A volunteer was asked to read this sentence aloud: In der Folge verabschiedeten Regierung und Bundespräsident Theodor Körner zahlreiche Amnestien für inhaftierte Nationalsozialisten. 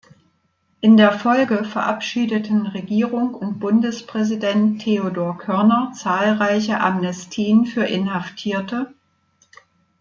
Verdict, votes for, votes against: rejected, 0, 2